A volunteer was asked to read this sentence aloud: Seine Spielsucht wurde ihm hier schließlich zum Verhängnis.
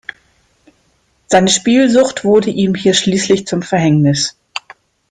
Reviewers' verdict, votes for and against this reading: accepted, 2, 0